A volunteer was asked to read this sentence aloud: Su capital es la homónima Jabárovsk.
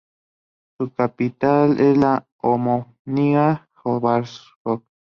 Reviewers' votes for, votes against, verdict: 0, 2, rejected